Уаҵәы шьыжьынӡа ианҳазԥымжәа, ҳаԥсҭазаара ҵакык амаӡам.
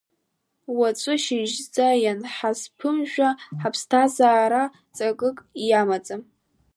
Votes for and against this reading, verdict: 0, 2, rejected